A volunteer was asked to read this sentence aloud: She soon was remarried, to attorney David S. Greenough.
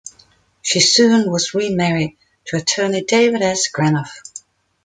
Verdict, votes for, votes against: rejected, 1, 2